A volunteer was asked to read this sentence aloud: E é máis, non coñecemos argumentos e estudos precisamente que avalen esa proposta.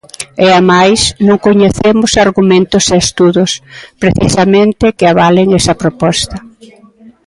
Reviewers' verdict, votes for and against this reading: accepted, 2, 1